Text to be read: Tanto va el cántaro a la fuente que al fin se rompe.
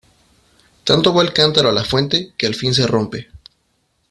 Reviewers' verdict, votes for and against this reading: accepted, 2, 0